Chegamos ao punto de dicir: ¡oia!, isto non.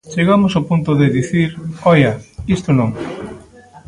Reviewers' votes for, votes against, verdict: 2, 0, accepted